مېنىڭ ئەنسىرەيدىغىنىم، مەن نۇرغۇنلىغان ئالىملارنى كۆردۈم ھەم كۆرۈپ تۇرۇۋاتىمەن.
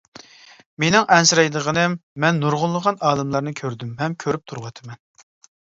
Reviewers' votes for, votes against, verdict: 2, 0, accepted